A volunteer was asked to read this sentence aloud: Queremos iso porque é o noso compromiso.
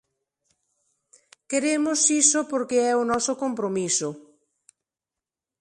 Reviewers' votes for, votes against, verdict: 2, 0, accepted